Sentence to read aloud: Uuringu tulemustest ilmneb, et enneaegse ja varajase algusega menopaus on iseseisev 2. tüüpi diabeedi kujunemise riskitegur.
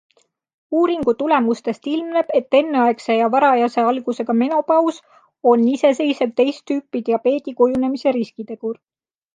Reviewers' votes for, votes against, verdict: 0, 2, rejected